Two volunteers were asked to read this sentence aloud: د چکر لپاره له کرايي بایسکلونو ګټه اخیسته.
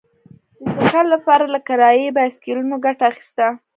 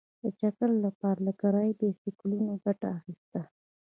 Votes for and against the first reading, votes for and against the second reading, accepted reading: 2, 1, 1, 2, first